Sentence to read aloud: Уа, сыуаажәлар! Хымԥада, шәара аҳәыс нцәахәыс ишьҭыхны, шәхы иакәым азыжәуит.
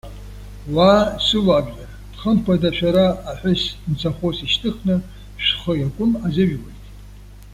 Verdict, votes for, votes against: accepted, 2, 0